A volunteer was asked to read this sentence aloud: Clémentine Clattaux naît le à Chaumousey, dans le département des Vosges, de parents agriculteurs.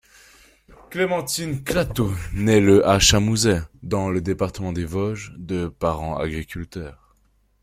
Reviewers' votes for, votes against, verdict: 2, 0, accepted